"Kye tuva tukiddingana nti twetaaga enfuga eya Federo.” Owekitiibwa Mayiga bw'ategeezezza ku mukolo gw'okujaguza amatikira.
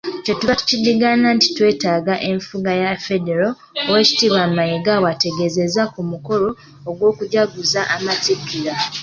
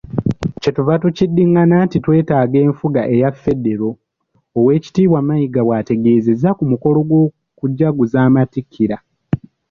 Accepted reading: second